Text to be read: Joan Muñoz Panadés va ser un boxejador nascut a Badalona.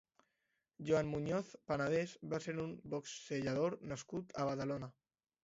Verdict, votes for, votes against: accepted, 2, 0